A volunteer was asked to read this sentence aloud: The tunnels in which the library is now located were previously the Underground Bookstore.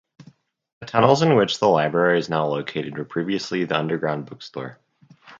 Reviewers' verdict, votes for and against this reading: accepted, 4, 0